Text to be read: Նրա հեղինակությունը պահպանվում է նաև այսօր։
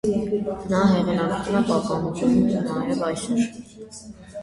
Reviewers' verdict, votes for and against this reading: rejected, 0, 2